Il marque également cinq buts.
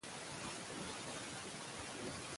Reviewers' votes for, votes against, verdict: 0, 2, rejected